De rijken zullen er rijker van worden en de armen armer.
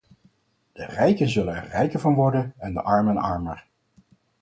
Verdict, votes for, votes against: accepted, 4, 0